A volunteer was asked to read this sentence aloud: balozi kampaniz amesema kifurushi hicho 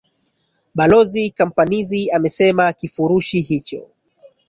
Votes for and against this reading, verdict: 1, 2, rejected